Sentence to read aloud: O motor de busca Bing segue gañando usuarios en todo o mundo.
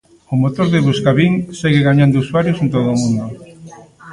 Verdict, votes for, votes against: rejected, 1, 2